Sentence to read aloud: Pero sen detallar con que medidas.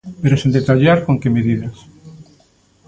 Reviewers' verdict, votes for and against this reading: rejected, 1, 2